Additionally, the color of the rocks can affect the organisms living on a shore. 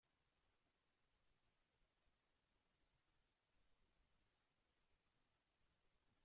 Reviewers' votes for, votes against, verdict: 0, 2, rejected